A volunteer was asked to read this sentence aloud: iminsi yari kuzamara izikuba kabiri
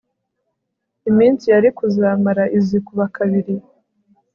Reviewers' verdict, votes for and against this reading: accepted, 2, 0